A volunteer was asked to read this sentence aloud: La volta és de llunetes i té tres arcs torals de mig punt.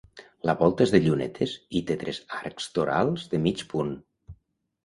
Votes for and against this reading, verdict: 2, 0, accepted